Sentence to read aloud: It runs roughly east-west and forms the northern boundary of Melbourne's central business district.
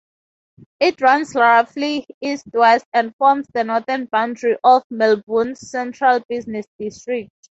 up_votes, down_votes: 0, 4